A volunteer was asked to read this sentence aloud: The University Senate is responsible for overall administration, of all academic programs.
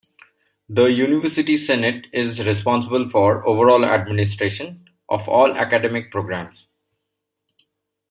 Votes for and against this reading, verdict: 2, 0, accepted